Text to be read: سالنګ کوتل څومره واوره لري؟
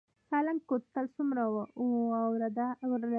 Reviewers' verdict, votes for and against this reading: rejected, 1, 2